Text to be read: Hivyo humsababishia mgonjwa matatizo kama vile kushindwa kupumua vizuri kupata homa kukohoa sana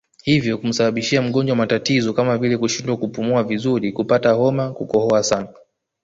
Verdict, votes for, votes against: rejected, 1, 2